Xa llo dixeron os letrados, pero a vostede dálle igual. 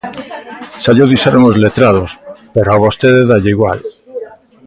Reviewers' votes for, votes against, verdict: 1, 2, rejected